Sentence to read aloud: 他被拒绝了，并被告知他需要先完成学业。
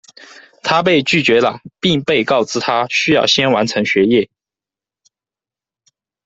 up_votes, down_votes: 2, 0